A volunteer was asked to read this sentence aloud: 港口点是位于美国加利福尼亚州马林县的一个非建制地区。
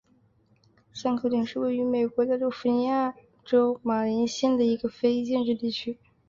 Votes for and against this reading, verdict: 3, 2, accepted